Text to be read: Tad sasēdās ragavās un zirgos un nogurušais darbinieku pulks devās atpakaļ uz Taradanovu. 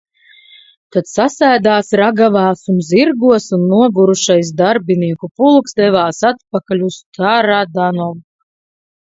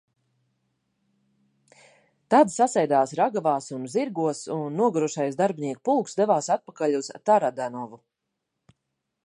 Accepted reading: second